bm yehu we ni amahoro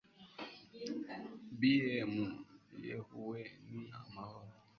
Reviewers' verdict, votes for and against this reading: accepted, 2, 1